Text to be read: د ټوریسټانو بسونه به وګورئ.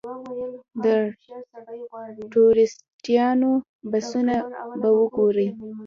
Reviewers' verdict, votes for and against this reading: accepted, 2, 0